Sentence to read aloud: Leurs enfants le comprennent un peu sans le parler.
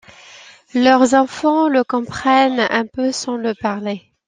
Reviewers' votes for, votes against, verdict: 2, 0, accepted